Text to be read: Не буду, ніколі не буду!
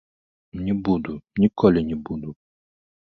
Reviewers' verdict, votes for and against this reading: rejected, 1, 2